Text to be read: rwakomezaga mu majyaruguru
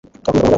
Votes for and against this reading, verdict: 1, 2, rejected